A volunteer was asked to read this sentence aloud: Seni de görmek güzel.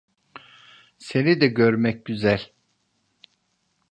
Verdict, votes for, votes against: accepted, 3, 0